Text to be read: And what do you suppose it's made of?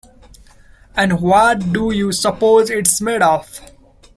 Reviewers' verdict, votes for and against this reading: rejected, 0, 2